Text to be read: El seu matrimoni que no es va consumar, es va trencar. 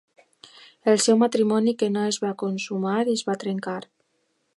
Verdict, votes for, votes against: accepted, 2, 0